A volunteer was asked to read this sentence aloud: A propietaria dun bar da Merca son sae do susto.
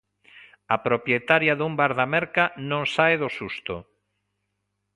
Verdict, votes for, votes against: rejected, 1, 2